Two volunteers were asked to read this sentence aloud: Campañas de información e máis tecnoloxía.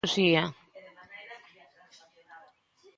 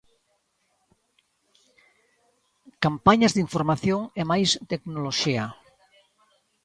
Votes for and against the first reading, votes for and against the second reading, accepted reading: 0, 2, 2, 0, second